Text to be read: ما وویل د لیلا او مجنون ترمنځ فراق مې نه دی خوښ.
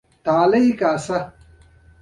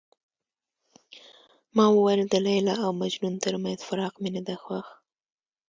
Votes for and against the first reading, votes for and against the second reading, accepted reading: 1, 2, 2, 0, second